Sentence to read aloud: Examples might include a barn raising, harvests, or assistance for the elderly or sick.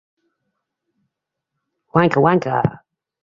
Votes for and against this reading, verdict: 0, 2, rejected